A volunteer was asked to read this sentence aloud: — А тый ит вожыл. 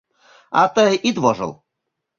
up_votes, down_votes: 3, 0